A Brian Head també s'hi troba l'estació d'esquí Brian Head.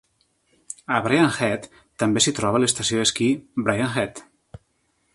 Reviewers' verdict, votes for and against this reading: accepted, 3, 0